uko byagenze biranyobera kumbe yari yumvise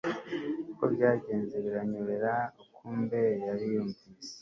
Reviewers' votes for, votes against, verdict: 2, 0, accepted